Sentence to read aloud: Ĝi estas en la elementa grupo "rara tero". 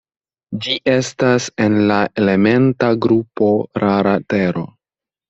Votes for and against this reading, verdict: 2, 0, accepted